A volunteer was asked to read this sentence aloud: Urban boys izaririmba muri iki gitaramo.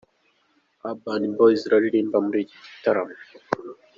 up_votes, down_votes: 1, 2